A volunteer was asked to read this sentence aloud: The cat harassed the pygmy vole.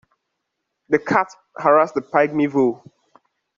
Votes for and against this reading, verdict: 2, 1, accepted